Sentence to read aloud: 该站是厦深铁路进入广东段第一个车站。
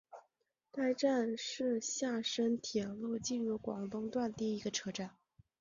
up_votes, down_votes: 2, 0